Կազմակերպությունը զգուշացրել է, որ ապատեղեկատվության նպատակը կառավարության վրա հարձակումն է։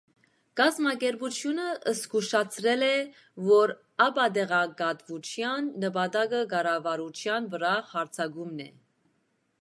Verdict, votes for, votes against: rejected, 0, 2